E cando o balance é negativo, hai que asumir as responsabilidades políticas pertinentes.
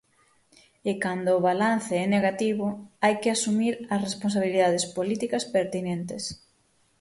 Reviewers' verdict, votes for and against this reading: accepted, 6, 0